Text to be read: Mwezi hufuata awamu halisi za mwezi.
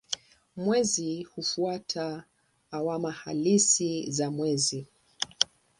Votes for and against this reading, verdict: 4, 2, accepted